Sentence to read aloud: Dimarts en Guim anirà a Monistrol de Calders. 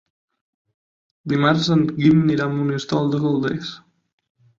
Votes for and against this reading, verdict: 9, 12, rejected